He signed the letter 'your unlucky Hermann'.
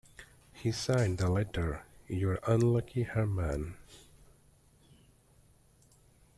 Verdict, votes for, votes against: accepted, 2, 0